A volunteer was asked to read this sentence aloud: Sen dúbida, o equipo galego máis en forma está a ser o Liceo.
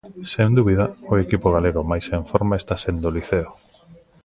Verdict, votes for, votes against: rejected, 0, 2